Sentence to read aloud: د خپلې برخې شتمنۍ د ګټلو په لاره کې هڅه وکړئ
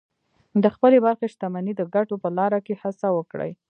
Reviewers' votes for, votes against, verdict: 1, 2, rejected